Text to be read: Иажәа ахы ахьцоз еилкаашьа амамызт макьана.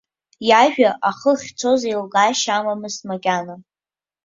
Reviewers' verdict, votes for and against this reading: accepted, 2, 0